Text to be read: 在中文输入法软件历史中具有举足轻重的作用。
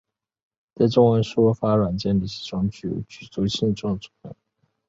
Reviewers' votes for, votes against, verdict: 1, 3, rejected